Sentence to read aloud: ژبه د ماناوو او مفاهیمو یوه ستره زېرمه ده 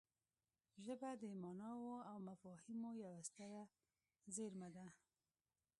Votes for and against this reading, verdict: 1, 2, rejected